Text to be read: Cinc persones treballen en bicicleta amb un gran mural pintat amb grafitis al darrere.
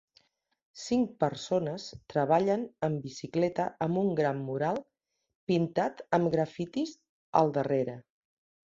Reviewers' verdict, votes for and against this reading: accepted, 3, 0